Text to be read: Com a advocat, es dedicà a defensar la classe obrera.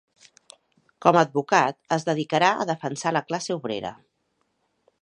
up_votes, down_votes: 1, 2